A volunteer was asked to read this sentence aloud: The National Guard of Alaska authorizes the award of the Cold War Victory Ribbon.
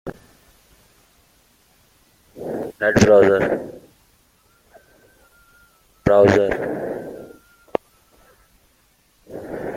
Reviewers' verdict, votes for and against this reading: rejected, 0, 2